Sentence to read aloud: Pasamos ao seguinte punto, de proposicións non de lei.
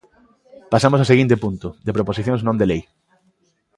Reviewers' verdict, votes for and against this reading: accepted, 2, 0